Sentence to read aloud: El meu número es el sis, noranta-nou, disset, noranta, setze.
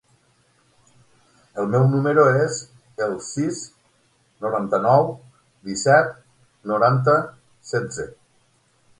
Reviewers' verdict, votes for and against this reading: accepted, 9, 0